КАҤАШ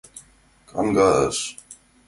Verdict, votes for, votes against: rejected, 0, 2